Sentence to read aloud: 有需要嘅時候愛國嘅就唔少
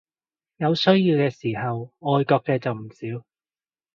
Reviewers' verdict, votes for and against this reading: accepted, 2, 0